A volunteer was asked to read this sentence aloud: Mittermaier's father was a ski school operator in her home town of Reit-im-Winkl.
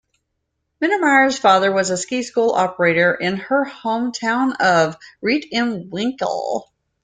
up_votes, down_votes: 2, 0